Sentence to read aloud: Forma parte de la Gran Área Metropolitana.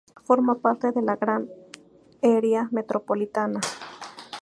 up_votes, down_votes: 0, 2